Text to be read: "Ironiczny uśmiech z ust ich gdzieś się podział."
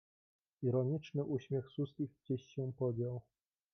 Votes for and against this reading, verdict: 2, 1, accepted